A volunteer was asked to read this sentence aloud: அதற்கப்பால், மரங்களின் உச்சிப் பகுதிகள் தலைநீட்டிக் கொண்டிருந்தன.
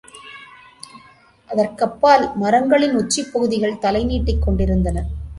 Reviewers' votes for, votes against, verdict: 2, 0, accepted